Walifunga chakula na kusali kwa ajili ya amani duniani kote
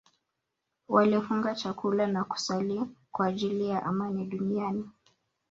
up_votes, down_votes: 1, 2